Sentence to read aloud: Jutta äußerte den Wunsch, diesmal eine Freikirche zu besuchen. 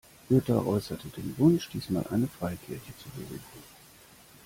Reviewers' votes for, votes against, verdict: 2, 0, accepted